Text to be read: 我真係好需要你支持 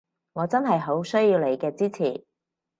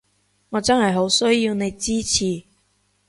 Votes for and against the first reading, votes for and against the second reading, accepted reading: 2, 4, 2, 0, second